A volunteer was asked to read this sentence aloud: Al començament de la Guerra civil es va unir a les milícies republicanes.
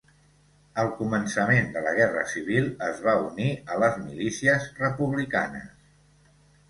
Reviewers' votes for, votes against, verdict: 2, 0, accepted